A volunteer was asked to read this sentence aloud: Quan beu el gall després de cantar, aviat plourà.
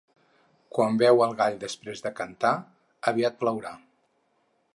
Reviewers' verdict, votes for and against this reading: accepted, 4, 0